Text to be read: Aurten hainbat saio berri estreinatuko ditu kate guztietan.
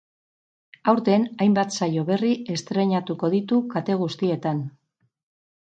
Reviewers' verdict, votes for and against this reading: rejected, 2, 2